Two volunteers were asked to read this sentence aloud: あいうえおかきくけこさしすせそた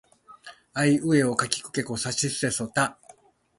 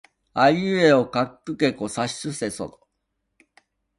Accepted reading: first